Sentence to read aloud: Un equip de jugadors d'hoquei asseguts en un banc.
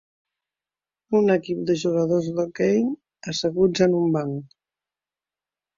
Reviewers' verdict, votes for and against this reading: accepted, 3, 0